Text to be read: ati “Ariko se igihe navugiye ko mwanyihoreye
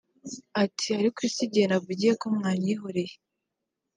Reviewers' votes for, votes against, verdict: 2, 0, accepted